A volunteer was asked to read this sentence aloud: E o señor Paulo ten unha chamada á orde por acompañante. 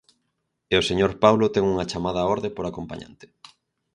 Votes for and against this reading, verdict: 4, 0, accepted